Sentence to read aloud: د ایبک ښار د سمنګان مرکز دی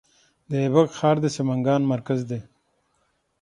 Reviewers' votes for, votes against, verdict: 6, 0, accepted